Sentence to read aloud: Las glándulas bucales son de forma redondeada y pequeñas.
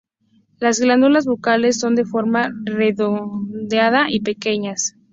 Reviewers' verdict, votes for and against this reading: accepted, 2, 0